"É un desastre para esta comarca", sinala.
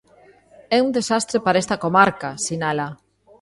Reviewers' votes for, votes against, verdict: 2, 0, accepted